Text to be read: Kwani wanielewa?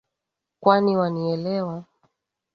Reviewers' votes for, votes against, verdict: 2, 0, accepted